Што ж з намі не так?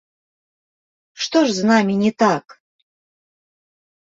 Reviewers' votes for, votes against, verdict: 4, 3, accepted